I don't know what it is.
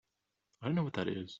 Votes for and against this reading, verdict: 0, 3, rejected